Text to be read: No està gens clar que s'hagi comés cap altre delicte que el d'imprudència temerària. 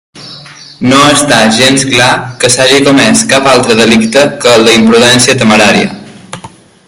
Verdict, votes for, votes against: accepted, 2, 0